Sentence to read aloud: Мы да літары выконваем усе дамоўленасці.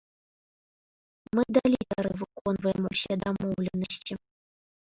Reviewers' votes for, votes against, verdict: 0, 2, rejected